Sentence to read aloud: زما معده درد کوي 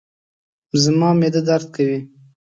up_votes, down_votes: 3, 0